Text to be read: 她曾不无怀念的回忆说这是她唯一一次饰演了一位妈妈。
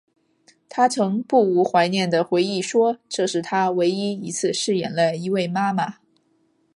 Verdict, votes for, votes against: accepted, 3, 0